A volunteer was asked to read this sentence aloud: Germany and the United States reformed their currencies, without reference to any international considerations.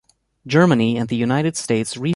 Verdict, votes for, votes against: rejected, 0, 2